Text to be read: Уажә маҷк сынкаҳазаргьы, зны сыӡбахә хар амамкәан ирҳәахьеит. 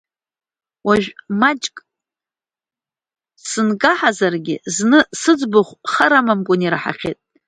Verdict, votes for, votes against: rejected, 0, 2